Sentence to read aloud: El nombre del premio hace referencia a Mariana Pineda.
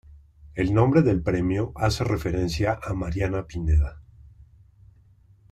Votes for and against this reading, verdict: 2, 0, accepted